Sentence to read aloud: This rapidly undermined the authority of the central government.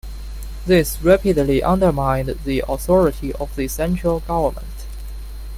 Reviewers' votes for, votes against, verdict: 2, 0, accepted